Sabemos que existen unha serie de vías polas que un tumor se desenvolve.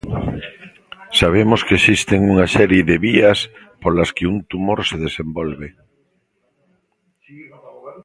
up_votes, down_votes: 1, 2